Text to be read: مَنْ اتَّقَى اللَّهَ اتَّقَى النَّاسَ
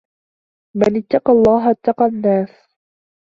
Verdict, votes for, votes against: accepted, 2, 0